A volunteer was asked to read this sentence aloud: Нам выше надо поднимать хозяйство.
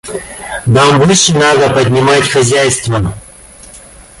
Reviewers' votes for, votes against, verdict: 2, 1, accepted